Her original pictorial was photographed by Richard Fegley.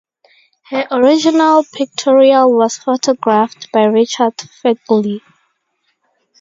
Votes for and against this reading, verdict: 0, 2, rejected